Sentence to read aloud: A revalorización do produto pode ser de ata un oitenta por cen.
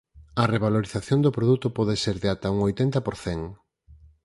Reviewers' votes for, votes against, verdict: 4, 0, accepted